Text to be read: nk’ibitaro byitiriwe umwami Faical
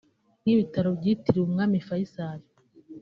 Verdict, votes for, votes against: accepted, 3, 0